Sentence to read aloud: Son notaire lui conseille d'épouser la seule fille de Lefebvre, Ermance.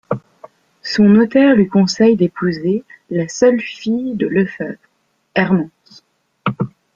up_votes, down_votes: 2, 0